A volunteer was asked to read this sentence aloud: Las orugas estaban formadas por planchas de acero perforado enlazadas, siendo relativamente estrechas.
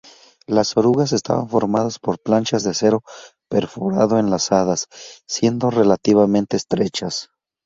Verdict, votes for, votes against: accepted, 4, 0